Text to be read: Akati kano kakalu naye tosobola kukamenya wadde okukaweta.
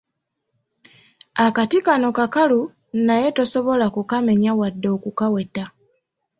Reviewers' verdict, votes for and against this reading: accepted, 2, 0